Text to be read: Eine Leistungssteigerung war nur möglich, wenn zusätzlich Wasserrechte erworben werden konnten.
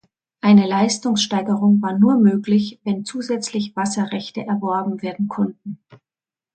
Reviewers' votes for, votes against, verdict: 2, 0, accepted